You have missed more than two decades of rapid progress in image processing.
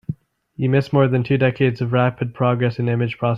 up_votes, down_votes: 0, 2